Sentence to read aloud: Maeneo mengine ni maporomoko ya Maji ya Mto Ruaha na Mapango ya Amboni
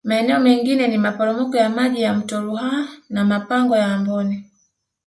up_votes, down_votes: 1, 2